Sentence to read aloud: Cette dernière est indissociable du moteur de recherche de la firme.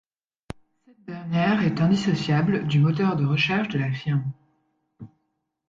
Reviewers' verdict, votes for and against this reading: rejected, 1, 2